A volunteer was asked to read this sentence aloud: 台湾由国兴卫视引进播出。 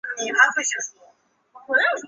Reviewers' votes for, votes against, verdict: 0, 2, rejected